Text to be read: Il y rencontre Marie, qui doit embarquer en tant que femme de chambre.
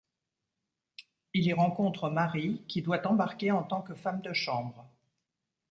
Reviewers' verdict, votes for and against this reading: accepted, 2, 0